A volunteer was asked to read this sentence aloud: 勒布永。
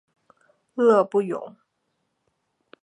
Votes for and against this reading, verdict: 2, 0, accepted